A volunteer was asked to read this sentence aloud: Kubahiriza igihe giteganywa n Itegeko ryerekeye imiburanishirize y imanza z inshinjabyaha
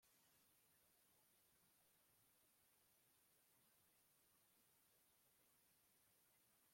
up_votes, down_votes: 0, 2